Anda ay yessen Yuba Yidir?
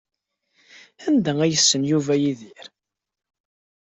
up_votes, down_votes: 2, 0